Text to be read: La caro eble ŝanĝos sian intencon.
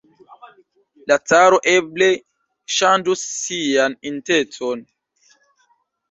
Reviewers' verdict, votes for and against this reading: rejected, 1, 2